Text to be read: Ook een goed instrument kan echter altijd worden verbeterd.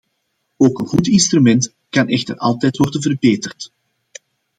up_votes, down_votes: 2, 0